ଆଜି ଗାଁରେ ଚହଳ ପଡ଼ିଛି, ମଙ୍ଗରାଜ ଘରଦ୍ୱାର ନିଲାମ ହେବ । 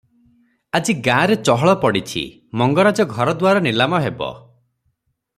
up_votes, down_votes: 6, 0